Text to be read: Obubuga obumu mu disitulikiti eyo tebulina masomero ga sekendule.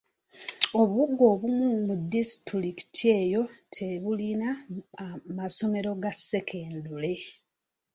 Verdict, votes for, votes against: rejected, 0, 2